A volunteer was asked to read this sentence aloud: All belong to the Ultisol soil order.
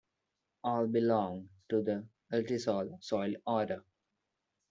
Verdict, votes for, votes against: accepted, 2, 0